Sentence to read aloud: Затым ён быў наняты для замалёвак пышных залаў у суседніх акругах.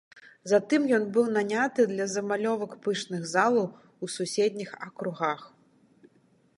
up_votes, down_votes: 3, 0